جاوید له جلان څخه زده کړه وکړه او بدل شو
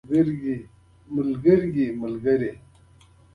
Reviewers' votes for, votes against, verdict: 3, 2, accepted